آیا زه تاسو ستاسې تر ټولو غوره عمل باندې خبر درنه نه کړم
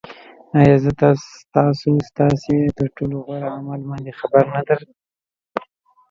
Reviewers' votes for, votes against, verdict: 0, 2, rejected